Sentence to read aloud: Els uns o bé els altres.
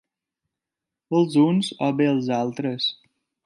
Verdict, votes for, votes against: accepted, 3, 0